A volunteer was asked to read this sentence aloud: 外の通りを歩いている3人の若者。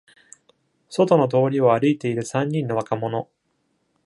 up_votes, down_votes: 0, 2